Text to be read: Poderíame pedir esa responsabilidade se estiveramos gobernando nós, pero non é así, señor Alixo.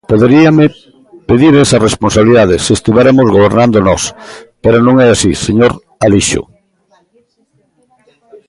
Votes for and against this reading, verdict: 0, 2, rejected